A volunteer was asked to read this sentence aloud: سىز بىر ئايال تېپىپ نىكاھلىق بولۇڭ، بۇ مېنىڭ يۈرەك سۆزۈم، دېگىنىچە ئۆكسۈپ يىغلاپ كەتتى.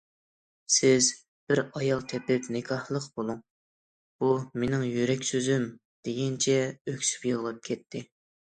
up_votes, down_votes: 2, 0